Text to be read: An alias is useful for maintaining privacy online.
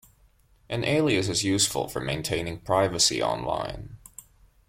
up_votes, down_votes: 2, 0